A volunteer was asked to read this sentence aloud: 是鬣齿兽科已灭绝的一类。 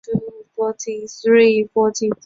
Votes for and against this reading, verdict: 1, 3, rejected